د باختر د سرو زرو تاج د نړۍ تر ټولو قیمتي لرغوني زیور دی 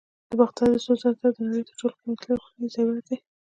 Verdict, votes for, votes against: rejected, 0, 2